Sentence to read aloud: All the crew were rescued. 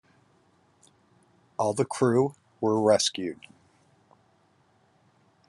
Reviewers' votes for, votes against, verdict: 2, 0, accepted